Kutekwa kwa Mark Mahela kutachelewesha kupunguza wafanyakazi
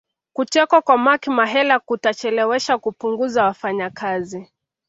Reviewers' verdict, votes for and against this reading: accepted, 2, 1